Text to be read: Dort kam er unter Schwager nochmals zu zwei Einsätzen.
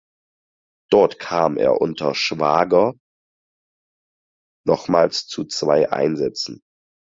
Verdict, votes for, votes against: accepted, 4, 0